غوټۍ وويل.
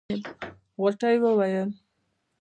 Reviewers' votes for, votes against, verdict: 3, 0, accepted